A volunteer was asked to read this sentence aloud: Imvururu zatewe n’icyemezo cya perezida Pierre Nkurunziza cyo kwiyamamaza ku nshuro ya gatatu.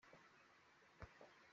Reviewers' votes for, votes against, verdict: 0, 3, rejected